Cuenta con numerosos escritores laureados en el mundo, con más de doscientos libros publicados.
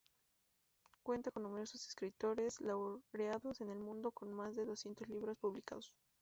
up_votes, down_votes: 0, 2